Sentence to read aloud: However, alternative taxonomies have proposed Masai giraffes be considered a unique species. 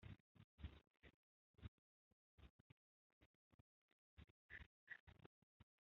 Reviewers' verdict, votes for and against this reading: rejected, 0, 2